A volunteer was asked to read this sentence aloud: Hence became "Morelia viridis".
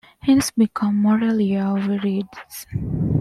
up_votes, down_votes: 0, 2